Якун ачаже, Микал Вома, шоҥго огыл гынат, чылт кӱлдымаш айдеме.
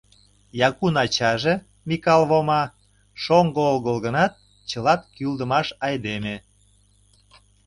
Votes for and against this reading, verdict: 0, 2, rejected